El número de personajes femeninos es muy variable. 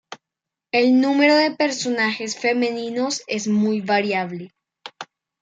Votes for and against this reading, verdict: 1, 2, rejected